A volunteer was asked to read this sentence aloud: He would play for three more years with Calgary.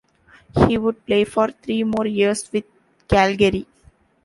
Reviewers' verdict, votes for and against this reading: accepted, 2, 1